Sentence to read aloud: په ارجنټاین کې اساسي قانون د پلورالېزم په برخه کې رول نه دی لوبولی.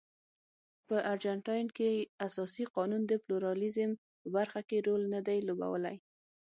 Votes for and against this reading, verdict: 6, 0, accepted